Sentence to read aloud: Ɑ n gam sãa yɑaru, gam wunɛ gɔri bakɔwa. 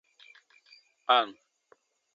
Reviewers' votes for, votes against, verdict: 0, 2, rejected